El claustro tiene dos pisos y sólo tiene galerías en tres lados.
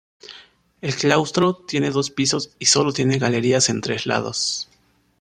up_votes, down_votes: 2, 0